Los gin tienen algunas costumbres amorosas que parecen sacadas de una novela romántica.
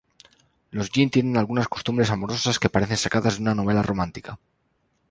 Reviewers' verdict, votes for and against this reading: accepted, 2, 0